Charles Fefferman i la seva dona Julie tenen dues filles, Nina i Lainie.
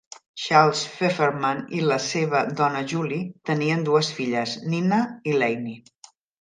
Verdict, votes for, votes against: rejected, 1, 2